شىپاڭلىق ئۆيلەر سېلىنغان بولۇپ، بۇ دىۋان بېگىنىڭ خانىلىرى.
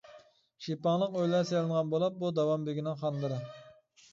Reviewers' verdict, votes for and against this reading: rejected, 1, 2